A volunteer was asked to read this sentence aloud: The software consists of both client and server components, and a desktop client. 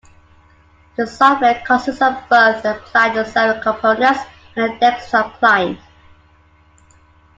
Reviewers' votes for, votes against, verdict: 2, 1, accepted